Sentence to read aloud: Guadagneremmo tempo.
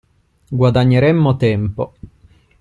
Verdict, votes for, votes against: accepted, 2, 0